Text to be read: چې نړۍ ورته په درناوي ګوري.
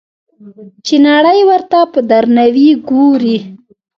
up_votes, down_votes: 1, 2